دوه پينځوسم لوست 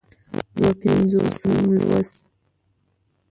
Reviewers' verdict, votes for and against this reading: rejected, 1, 2